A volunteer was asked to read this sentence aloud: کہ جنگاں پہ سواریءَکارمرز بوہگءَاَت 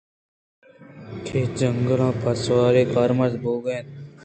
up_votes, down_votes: 2, 1